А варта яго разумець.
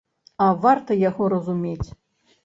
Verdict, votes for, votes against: accepted, 2, 0